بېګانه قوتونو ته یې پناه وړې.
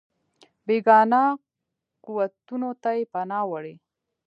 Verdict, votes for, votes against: rejected, 1, 2